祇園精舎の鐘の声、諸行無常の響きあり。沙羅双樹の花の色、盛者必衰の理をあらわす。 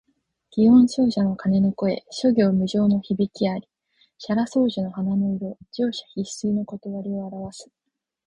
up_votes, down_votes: 4, 0